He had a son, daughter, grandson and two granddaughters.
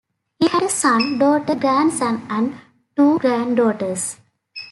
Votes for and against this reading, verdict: 2, 0, accepted